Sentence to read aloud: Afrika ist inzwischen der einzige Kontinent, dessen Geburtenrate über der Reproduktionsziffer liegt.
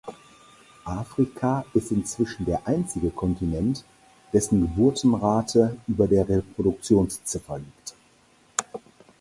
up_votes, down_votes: 4, 0